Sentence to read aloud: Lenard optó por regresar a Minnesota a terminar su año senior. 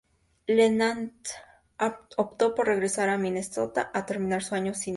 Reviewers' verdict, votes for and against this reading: rejected, 0, 2